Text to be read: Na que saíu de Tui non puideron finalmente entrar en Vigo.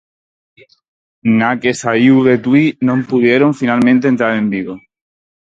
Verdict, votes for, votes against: rejected, 2, 2